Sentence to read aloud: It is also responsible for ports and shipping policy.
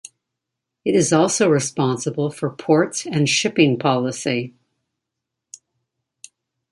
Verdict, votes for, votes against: accepted, 2, 0